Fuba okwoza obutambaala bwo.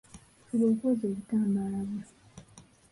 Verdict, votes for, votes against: rejected, 0, 3